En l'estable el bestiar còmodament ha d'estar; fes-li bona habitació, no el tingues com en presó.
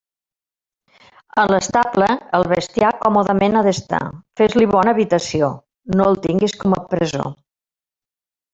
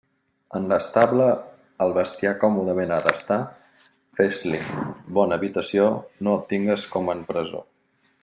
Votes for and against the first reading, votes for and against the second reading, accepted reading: 0, 2, 2, 0, second